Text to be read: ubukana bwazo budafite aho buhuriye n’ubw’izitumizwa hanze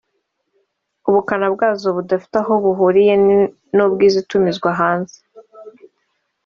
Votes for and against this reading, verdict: 3, 0, accepted